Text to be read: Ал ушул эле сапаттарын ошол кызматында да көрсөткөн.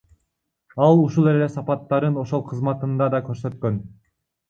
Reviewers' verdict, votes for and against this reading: accepted, 2, 1